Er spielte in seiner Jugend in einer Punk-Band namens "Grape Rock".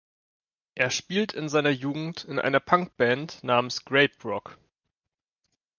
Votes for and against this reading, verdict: 1, 2, rejected